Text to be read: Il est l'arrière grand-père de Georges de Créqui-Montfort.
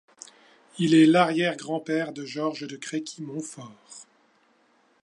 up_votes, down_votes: 2, 0